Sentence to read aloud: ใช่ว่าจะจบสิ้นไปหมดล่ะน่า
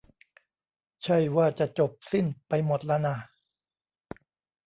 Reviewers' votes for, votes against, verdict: 0, 2, rejected